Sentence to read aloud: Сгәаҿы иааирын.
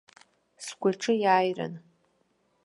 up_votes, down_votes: 2, 0